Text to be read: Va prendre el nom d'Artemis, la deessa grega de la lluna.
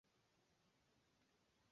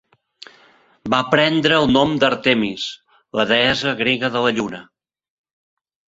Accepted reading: second